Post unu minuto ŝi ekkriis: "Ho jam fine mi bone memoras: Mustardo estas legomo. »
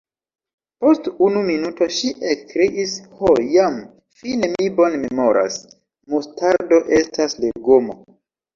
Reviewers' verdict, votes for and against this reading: accepted, 2, 0